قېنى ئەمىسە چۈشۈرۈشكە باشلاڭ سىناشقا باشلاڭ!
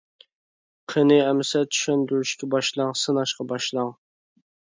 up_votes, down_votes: 0, 2